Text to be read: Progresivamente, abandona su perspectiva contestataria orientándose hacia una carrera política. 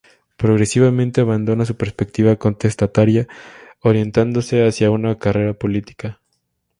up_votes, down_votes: 2, 0